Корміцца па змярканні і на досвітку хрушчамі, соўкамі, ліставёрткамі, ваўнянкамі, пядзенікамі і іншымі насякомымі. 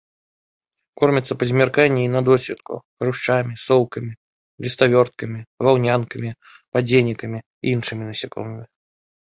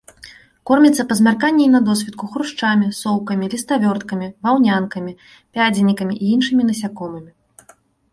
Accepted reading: second